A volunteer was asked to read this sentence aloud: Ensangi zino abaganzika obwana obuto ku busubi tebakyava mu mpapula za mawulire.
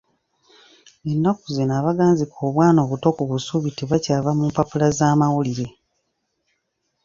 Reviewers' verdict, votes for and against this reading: rejected, 1, 2